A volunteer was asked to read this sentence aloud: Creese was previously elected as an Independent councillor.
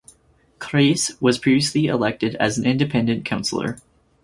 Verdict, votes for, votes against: accepted, 4, 0